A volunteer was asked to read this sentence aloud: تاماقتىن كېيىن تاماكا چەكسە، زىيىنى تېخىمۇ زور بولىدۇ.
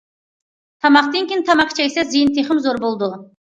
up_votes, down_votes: 2, 1